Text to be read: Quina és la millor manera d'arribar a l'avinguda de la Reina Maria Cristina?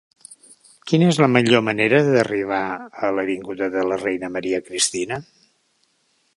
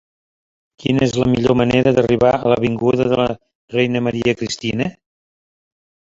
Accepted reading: first